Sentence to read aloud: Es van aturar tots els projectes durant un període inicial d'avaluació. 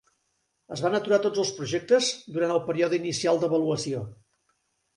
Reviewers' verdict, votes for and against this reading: rejected, 0, 2